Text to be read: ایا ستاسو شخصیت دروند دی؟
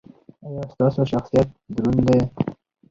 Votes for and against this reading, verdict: 4, 0, accepted